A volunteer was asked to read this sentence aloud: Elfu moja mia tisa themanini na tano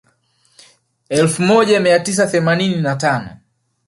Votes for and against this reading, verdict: 5, 0, accepted